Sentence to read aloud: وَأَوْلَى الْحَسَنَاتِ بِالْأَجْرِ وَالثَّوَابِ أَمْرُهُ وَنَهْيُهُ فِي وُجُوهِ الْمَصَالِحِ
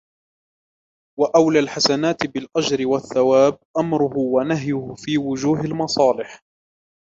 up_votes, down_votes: 2, 0